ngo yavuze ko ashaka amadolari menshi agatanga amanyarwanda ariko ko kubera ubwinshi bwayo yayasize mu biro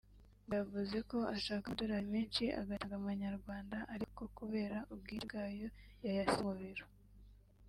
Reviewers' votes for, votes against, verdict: 2, 0, accepted